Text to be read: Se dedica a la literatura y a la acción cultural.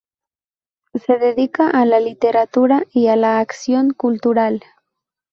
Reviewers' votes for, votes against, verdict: 0, 2, rejected